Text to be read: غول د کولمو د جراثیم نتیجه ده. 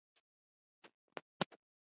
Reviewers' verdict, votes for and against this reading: accepted, 2, 1